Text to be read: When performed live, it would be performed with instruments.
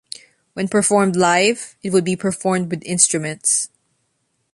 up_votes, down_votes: 2, 0